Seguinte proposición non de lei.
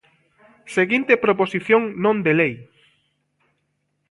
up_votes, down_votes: 1, 2